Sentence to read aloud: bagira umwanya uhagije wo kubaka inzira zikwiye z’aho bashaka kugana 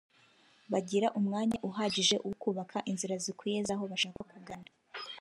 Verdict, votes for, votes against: accepted, 2, 1